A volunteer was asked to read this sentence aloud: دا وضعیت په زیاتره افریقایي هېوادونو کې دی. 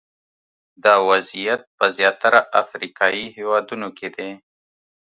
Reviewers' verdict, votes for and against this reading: rejected, 0, 2